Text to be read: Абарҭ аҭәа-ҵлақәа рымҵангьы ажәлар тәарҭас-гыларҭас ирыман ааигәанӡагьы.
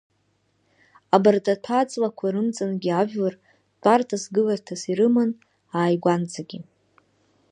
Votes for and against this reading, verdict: 2, 1, accepted